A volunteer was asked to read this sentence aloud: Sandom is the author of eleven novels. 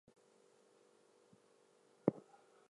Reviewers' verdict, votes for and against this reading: rejected, 0, 4